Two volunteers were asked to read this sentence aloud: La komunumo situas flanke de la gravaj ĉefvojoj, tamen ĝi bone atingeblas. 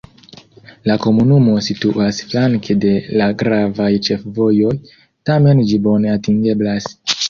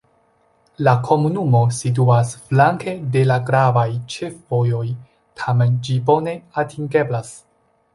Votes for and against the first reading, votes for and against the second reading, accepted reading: 1, 2, 2, 0, second